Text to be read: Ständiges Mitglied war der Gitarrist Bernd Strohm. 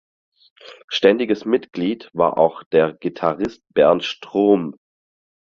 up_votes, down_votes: 0, 4